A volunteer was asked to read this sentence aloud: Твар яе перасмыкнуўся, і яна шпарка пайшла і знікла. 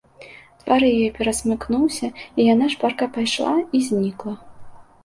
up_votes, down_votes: 2, 0